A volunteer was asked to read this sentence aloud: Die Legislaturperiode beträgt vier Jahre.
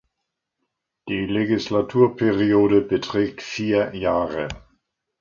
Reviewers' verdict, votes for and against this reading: accepted, 2, 0